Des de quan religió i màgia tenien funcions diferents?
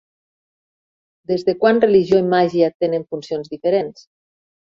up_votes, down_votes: 0, 2